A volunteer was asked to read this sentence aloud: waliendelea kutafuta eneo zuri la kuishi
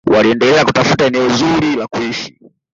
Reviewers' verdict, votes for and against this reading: rejected, 1, 2